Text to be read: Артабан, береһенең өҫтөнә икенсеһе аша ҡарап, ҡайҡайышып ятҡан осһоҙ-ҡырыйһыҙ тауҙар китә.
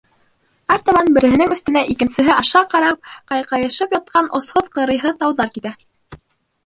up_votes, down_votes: 1, 2